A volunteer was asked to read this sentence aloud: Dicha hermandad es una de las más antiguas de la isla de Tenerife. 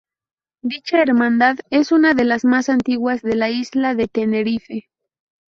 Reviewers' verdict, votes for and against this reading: accepted, 2, 0